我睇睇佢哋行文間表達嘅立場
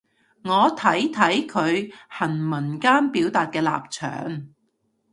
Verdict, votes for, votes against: rejected, 1, 2